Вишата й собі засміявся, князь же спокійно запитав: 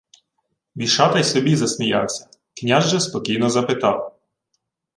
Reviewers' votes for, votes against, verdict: 2, 1, accepted